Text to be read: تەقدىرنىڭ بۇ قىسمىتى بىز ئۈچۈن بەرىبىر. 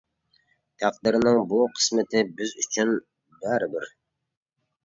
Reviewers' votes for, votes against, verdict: 2, 0, accepted